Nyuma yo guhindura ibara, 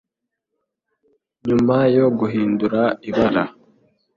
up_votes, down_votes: 3, 0